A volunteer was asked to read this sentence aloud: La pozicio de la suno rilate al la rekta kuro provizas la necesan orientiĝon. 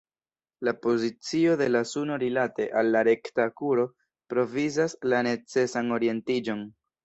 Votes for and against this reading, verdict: 2, 1, accepted